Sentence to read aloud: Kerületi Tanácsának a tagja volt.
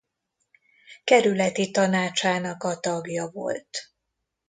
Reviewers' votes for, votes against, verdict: 2, 0, accepted